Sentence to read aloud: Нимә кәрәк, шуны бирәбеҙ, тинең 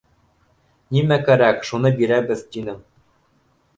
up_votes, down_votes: 2, 1